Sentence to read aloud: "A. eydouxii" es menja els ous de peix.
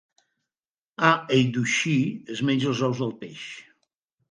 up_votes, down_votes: 1, 2